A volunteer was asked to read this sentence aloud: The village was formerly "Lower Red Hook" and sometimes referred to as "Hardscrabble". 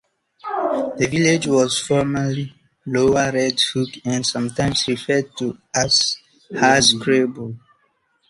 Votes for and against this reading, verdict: 0, 2, rejected